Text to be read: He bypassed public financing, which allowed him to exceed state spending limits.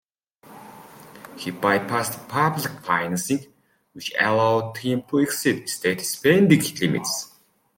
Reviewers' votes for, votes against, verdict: 2, 0, accepted